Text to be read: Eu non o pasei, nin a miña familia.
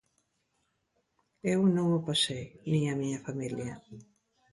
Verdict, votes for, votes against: accepted, 2, 0